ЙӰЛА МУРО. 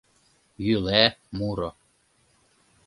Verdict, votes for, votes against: rejected, 0, 3